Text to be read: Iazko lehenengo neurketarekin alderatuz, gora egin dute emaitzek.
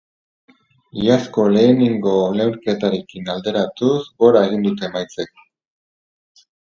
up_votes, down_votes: 0, 2